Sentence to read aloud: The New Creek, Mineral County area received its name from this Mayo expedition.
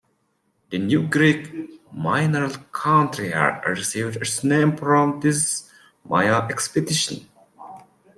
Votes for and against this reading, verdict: 0, 2, rejected